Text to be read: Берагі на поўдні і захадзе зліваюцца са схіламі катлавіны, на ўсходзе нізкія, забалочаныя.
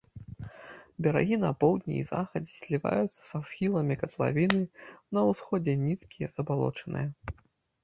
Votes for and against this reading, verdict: 2, 0, accepted